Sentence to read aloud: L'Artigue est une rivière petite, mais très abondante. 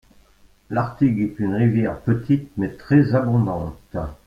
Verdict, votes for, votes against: accepted, 2, 0